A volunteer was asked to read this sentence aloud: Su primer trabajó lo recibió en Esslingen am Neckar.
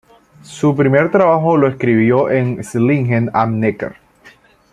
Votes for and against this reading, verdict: 1, 2, rejected